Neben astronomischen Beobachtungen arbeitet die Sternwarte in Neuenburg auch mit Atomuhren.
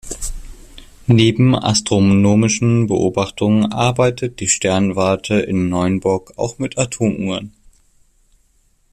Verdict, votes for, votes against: accepted, 2, 0